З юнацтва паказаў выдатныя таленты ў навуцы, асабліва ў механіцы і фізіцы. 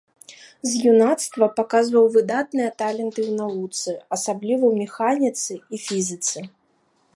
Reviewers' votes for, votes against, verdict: 2, 1, accepted